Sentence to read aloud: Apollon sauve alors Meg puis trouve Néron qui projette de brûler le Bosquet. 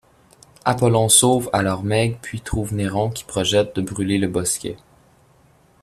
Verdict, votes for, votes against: accepted, 2, 0